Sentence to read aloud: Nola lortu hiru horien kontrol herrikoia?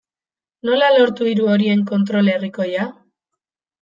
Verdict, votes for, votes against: accepted, 2, 0